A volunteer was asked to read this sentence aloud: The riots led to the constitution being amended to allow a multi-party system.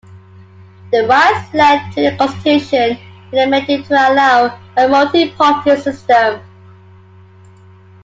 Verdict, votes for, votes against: rejected, 0, 2